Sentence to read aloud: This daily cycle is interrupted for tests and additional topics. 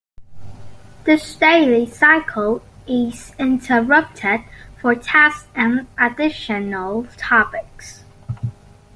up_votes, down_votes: 2, 0